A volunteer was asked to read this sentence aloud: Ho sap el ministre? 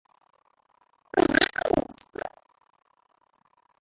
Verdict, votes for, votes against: rejected, 0, 2